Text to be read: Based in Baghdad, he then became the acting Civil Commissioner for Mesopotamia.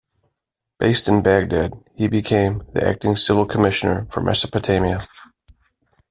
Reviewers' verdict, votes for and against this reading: rejected, 0, 2